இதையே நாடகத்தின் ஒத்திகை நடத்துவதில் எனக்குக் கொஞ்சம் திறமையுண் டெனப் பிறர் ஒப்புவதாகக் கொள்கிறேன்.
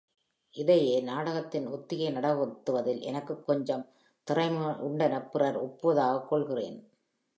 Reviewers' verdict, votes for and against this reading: accepted, 2, 0